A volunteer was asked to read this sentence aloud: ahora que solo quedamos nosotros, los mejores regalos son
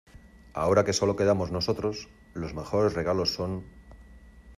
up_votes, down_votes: 2, 0